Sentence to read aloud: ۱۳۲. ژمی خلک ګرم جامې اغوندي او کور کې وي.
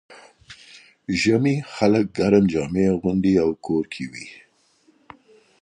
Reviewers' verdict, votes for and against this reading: rejected, 0, 2